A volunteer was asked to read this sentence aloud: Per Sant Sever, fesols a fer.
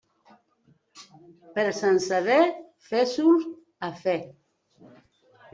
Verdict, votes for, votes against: rejected, 0, 2